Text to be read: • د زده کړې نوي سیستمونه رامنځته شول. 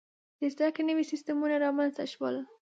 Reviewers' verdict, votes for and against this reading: accepted, 2, 0